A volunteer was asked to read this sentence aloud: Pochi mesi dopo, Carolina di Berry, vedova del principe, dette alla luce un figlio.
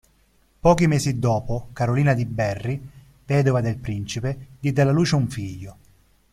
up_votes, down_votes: 1, 2